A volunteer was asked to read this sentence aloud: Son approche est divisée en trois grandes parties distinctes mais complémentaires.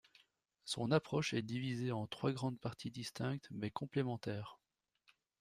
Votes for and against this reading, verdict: 0, 2, rejected